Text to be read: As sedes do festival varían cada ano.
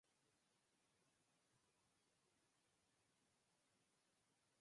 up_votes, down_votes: 2, 4